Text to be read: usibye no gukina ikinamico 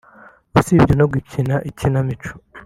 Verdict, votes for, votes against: accepted, 2, 0